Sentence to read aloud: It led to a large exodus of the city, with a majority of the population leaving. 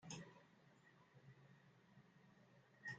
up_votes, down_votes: 1, 2